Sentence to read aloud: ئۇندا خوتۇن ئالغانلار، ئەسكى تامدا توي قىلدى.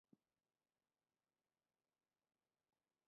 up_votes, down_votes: 0, 3